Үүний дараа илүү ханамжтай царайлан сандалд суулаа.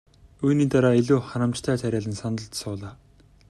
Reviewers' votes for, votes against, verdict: 1, 2, rejected